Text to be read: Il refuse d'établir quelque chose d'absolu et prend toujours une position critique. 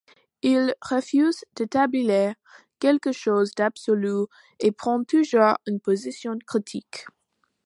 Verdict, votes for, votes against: accepted, 2, 1